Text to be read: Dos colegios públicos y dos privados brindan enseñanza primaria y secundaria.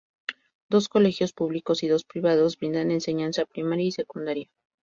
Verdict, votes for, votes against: rejected, 0, 2